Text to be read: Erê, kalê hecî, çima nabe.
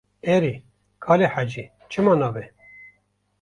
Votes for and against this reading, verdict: 2, 0, accepted